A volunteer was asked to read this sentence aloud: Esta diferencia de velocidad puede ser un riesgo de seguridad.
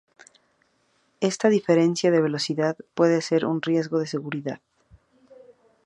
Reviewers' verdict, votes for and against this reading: accepted, 4, 0